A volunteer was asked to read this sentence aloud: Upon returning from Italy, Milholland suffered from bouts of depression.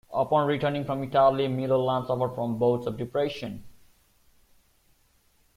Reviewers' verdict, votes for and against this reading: accepted, 2, 0